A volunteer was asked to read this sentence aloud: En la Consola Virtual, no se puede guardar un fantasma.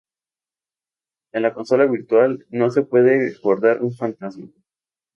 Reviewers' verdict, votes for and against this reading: accepted, 2, 0